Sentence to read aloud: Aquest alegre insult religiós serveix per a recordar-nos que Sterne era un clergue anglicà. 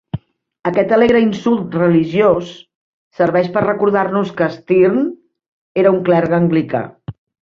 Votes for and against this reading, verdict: 2, 0, accepted